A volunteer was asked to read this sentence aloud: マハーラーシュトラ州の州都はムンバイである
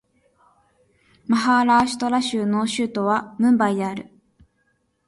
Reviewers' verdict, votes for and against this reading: accepted, 4, 0